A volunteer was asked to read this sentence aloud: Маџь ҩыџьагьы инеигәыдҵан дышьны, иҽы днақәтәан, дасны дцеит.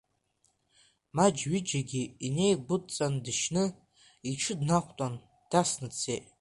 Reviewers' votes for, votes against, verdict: 2, 1, accepted